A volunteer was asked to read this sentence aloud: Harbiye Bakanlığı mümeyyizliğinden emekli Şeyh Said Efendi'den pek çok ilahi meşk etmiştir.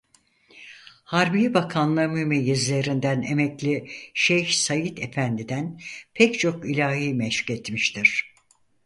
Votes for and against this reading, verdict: 2, 4, rejected